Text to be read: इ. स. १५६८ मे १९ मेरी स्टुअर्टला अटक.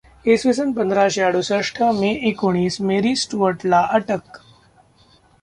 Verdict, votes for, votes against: rejected, 0, 2